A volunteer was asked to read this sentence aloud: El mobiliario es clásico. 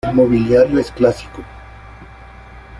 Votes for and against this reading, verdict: 2, 0, accepted